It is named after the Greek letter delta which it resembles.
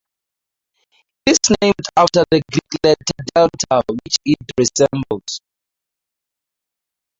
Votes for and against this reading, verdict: 0, 4, rejected